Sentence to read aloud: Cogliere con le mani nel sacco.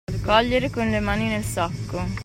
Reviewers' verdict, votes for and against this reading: accepted, 2, 0